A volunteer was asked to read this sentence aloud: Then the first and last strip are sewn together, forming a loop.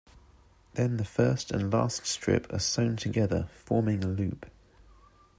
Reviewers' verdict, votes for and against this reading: accepted, 2, 0